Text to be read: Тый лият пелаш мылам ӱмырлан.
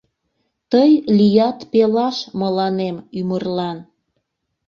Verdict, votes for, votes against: rejected, 0, 2